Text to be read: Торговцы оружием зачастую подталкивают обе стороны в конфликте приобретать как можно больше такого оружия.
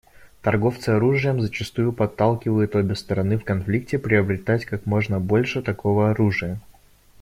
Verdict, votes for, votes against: rejected, 1, 2